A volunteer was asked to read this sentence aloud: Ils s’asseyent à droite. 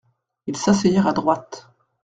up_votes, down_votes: 0, 2